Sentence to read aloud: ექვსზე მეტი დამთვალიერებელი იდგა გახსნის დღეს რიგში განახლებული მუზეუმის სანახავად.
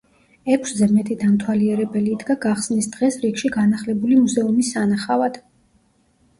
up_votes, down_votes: 2, 0